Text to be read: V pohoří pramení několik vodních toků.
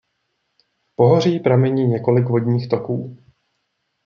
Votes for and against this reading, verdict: 1, 2, rejected